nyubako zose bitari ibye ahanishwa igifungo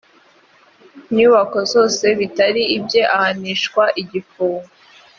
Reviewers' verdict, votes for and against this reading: accepted, 2, 0